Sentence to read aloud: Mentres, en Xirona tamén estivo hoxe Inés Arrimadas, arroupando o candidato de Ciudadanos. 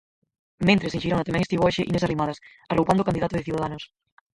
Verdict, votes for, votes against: rejected, 2, 4